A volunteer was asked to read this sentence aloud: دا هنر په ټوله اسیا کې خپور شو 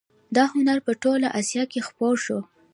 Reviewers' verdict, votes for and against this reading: rejected, 0, 2